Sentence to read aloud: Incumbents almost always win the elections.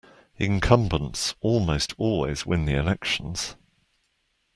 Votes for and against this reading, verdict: 2, 1, accepted